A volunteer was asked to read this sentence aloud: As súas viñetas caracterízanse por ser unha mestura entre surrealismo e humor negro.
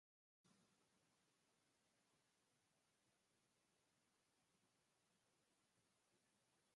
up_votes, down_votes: 0, 4